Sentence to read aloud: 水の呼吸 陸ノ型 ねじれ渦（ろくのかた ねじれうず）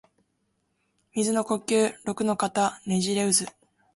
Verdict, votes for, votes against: accepted, 2, 0